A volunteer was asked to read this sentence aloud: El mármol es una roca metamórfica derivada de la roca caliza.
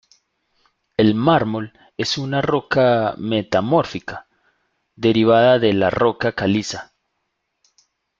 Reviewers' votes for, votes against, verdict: 2, 0, accepted